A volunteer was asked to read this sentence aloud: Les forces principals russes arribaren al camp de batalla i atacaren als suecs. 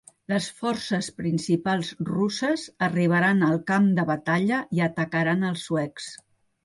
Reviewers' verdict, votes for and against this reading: rejected, 1, 2